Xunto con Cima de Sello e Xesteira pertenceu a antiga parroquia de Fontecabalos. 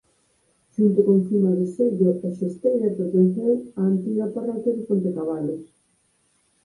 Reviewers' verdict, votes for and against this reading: rejected, 0, 4